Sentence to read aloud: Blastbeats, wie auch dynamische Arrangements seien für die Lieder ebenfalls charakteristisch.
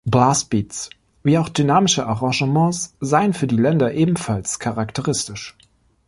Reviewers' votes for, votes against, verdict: 0, 2, rejected